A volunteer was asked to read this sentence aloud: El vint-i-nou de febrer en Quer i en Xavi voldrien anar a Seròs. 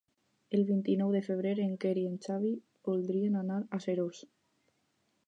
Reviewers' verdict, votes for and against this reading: accepted, 4, 0